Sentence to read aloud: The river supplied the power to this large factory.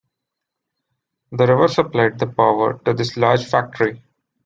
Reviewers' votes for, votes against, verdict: 2, 1, accepted